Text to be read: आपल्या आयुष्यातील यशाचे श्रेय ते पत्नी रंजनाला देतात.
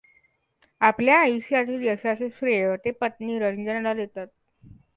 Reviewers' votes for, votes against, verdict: 1, 2, rejected